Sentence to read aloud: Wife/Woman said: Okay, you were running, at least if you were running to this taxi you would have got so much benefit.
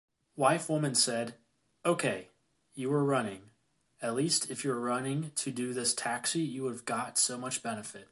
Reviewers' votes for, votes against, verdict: 2, 0, accepted